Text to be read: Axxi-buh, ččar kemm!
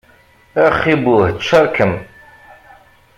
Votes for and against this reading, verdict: 1, 2, rejected